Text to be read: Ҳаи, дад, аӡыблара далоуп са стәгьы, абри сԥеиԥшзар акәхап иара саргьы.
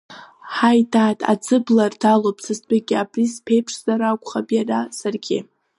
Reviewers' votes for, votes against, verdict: 1, 2, rejected